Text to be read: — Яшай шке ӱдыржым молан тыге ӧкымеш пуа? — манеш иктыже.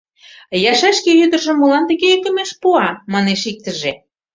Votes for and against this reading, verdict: 3, 0, accepted